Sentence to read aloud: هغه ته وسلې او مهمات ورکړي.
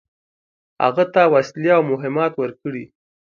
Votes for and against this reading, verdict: 2, 0, accepted